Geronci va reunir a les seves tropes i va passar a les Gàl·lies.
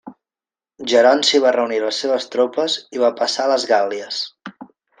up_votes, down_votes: 2, 0